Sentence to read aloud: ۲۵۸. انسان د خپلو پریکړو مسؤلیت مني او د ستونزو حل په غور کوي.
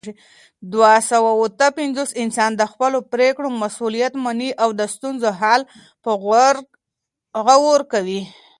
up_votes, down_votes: 0, 2